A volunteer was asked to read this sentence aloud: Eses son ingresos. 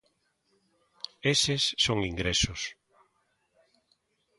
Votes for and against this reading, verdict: 2, 0, accepted